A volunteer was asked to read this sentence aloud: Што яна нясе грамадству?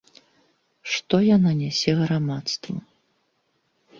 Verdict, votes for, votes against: accepted, 2, 0